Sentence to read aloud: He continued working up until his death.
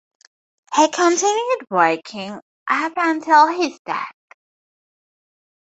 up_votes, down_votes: 4, 0